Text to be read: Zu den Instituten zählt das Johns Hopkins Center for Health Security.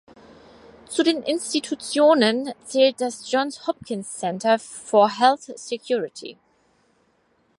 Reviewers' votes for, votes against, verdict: 2, 4, rejected